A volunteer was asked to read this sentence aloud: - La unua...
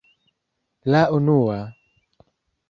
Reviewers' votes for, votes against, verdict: 2, 1, accepted